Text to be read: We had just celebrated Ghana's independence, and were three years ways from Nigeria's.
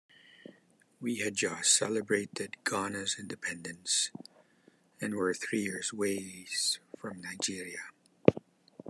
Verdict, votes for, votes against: accepted, 2, 1